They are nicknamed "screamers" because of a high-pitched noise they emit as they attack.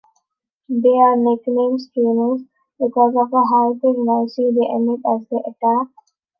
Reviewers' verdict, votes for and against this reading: rejected, 0, 2